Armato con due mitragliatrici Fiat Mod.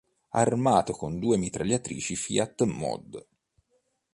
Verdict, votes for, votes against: accepted, 3, 0